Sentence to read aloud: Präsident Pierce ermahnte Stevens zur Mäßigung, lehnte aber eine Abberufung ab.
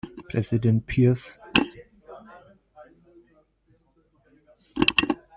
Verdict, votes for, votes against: rejected, 0, 2